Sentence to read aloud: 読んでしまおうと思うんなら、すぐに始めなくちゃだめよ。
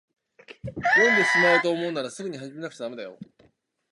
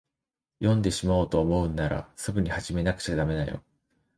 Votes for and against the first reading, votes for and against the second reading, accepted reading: 1, 2, 2, 0, second